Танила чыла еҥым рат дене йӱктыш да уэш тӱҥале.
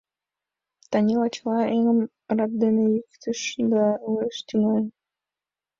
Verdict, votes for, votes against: rejected, 1, 4